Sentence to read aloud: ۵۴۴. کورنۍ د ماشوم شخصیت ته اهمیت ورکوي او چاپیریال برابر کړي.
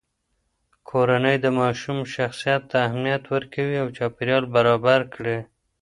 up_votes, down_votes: 0, 2